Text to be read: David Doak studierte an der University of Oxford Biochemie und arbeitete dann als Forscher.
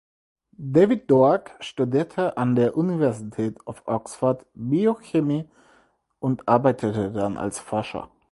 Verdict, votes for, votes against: accepted, 4, 2